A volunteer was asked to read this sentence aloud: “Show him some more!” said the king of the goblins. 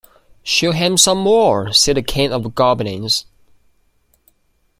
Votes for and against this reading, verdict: 1, 2, rejected